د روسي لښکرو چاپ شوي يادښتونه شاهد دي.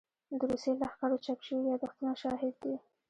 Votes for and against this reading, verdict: 2, 1, accepted